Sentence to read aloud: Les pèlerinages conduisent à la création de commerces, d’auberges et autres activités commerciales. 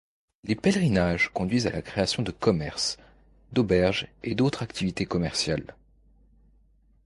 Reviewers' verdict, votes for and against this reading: rejected, 1, 2